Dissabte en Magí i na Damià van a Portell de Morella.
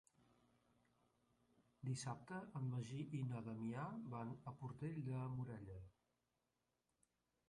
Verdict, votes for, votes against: rejected, 0, 2